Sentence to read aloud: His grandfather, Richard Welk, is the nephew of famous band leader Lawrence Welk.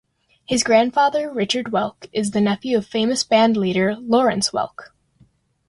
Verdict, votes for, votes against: accepted, 2, 0